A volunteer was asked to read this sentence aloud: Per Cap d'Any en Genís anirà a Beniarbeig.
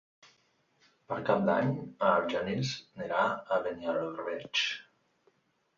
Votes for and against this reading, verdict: 1, 2, rejected